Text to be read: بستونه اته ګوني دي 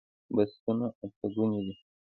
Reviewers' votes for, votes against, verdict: 2, 0, accepted